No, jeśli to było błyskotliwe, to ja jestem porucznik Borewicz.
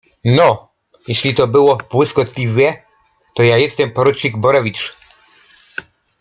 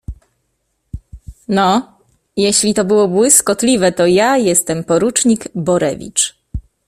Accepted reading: second